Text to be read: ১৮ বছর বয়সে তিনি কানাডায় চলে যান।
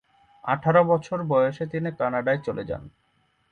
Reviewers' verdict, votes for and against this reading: rejected, 0, 2